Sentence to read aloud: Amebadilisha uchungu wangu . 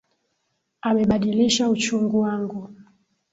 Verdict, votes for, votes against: rejected, 3, 3